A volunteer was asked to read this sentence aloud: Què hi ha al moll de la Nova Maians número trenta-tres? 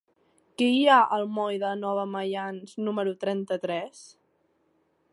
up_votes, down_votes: 0, 2